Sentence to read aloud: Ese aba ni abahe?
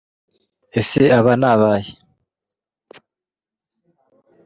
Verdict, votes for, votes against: rejected, 0, 2